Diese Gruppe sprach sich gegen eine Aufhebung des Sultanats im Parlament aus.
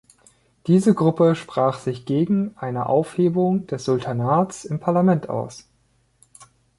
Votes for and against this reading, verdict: 2, 0, accepted